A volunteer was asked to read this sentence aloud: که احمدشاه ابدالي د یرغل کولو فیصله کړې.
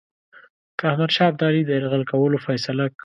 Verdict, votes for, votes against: rejected, 0, 2